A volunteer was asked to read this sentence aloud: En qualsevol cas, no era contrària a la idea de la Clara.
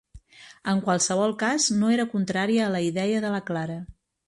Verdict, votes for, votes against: rejected, 1, 2